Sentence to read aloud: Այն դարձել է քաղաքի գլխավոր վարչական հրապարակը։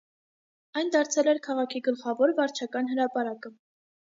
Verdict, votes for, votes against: rejected, 0, 2